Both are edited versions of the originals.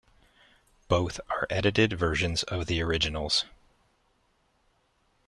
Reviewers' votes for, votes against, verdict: 2, 0, accepted